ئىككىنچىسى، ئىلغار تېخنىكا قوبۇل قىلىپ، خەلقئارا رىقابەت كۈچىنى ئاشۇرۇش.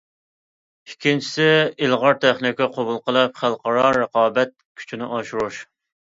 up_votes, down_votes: 2, 0